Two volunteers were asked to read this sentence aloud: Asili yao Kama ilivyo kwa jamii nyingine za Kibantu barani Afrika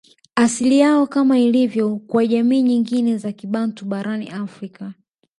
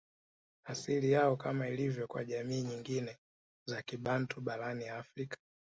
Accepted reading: second